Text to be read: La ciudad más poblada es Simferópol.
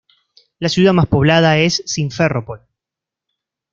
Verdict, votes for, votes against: rejected, 1, 2